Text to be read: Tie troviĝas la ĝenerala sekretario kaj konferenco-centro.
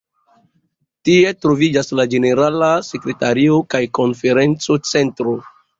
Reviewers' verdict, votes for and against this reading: accepted, 2, 0